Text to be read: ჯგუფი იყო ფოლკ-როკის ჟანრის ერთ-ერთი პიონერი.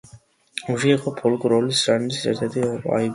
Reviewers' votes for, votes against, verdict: 0, 2, rejected